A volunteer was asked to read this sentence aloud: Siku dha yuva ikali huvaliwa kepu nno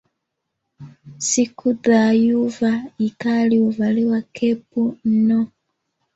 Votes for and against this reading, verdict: 2, 0, accepted